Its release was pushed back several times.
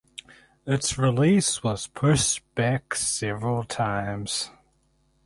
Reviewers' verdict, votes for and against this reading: rejected, 2, 2